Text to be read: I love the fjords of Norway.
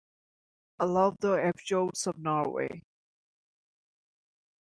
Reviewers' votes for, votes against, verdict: 1, 2, rejected